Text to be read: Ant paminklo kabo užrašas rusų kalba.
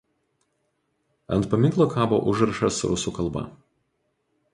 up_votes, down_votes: 2, 0